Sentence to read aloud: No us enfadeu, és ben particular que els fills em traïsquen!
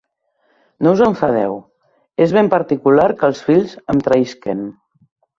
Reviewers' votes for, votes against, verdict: 3, 0, accepted